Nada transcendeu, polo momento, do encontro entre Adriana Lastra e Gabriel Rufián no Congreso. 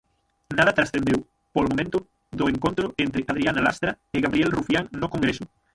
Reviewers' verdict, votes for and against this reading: rejected, 0, 6